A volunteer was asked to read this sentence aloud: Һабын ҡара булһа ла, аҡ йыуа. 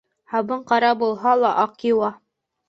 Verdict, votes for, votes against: accepted, 2, 0